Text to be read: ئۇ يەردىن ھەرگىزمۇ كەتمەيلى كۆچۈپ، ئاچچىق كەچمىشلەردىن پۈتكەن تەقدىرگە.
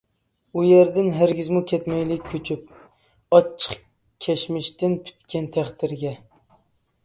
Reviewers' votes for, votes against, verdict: 0, 2, rejected